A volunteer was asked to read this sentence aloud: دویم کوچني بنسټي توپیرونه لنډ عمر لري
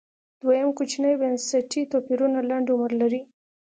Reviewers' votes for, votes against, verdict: 2, 0, accepted